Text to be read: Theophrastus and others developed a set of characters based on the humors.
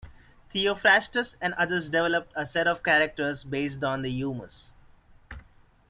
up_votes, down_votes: 2, 0